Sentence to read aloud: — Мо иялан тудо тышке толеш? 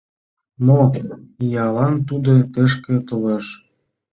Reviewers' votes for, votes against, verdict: 2, 0, accepted